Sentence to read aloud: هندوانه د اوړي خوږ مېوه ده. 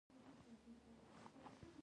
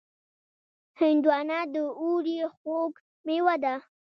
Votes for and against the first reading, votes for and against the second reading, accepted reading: 0, 2, 2, 0, second